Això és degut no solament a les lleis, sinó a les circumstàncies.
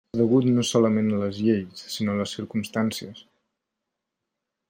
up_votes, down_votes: 0, 2